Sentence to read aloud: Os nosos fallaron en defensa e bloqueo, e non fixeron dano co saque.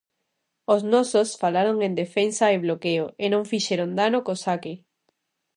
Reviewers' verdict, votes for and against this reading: rejected, 0, 2